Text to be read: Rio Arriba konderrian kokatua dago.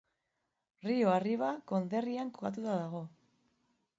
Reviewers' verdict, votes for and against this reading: accepted, 2, 1